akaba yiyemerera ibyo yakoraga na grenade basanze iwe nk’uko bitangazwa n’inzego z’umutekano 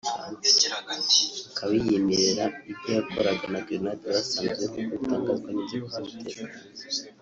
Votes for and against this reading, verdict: 2, 3, rejected